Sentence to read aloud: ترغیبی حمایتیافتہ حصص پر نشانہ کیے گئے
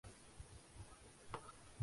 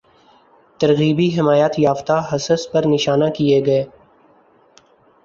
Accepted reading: second